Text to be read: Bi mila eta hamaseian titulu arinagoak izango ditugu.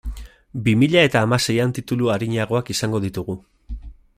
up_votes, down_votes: 3, 0